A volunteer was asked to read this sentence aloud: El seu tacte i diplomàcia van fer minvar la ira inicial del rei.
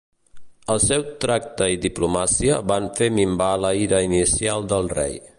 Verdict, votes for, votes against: rejected, 0, 3